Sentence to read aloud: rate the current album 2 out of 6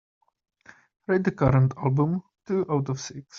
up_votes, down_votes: 0, 2